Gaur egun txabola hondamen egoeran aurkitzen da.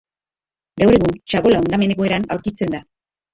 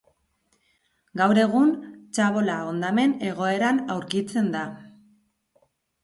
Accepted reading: second